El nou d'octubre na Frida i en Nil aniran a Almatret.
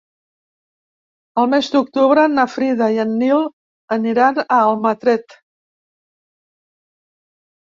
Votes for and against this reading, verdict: 0, 2, rejected